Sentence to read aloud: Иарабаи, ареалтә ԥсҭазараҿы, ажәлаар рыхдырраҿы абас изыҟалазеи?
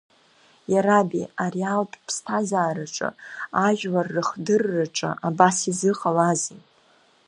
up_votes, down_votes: 1, 2